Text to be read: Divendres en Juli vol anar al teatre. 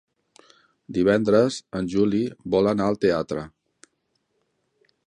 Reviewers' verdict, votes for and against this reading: accepted, 3, 0